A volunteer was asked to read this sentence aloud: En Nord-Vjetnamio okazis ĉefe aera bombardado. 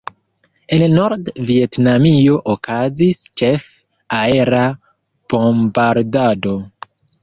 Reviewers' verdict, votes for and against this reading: rejected, 0, 2